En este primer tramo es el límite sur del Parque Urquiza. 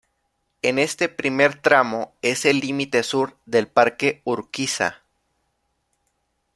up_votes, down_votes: 2, 0